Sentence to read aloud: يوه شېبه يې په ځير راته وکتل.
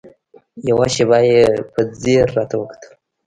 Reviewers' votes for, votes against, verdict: 2, 0, accepted